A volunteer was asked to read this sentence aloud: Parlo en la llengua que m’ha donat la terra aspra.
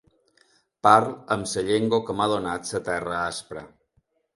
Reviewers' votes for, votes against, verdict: 1, 2, rejected